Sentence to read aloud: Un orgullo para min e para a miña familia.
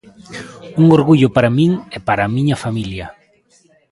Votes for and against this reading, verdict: 2, 0, accepted